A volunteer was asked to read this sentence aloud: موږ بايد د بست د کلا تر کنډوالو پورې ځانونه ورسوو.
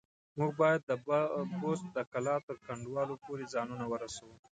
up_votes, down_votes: 2, 1